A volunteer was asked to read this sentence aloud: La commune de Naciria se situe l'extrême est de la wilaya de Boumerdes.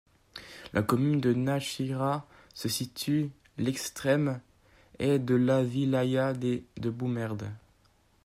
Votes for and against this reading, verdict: 1, 2, rejected